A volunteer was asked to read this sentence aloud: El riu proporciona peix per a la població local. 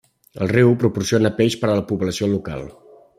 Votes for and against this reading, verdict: 3, 0, accepted